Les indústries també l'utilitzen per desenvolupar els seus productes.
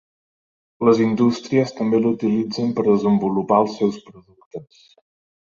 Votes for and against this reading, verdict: 3, 0, accepted